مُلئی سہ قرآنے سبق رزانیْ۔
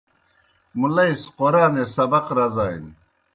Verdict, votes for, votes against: accepted, 2, 0